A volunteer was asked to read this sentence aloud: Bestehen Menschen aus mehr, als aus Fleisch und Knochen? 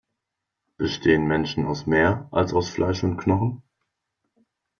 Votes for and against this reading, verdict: 2, 0, accepted